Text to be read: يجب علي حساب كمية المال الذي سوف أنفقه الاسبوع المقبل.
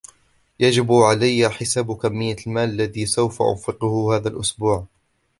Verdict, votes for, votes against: rejected, 1, 2